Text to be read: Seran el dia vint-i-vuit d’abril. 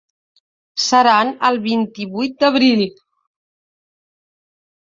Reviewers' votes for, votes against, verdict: 1, 2, rejected